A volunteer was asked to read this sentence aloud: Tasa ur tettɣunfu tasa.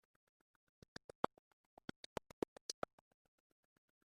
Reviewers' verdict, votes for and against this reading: rejected, 0, 2